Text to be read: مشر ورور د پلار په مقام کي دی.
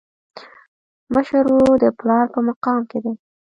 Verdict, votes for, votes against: accepted, 2, 0